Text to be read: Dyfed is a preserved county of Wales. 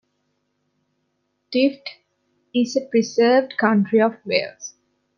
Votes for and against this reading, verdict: 2, 0, accepted